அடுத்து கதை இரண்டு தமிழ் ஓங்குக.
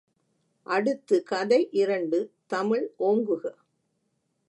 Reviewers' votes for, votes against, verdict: 2, 0, accepted